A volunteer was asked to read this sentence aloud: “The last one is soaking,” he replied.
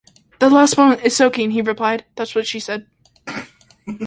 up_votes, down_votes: 0, 2